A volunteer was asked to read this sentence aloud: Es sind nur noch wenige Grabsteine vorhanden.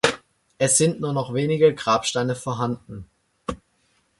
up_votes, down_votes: 2, 0